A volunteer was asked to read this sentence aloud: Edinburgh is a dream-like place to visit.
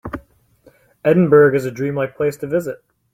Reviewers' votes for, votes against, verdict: 2, 0, accepted